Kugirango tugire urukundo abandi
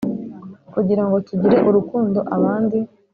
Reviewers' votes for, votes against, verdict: 1, 2, rejected